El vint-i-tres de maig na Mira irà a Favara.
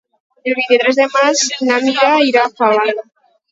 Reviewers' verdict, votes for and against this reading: rejected, 0, 4